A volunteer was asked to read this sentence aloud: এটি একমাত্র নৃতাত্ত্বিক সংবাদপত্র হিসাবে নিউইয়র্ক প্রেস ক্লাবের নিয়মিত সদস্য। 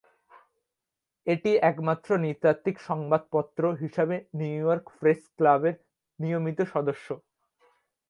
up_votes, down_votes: 2, 1